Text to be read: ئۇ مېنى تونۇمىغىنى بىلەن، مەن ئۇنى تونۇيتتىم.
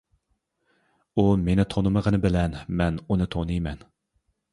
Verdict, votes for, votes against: rejected, 0, 2